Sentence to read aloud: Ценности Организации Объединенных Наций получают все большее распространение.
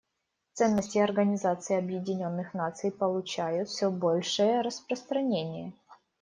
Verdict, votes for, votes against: accepted, 2, 0